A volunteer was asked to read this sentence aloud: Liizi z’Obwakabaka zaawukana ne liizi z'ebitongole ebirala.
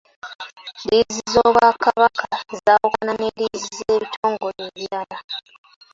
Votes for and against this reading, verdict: 0, 2, rejected